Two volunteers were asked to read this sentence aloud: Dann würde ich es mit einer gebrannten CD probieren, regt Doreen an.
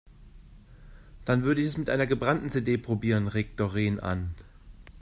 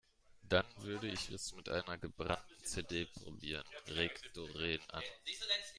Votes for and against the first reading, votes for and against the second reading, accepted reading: 2, 0, 1, 2, first